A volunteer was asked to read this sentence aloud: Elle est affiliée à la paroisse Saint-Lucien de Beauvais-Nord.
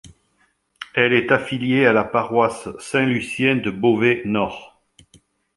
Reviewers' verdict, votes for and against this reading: accepted, 2, 0